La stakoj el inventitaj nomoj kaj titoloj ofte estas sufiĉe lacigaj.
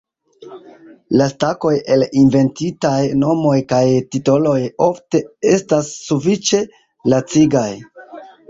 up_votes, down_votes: 2, 1